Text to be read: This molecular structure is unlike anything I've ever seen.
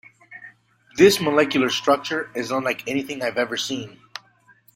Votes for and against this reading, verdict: 2, 0, accepted